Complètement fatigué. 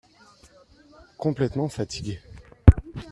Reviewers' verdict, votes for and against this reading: accepted, 2, 1